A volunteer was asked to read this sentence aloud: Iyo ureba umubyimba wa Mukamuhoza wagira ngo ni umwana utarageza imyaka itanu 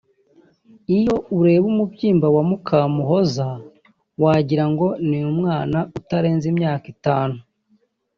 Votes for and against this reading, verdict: 1, 3, rejected